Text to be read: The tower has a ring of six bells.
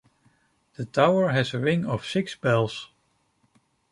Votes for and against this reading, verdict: 2, 0, accepted